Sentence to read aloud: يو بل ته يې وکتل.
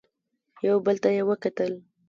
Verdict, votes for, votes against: accepted, 2, 0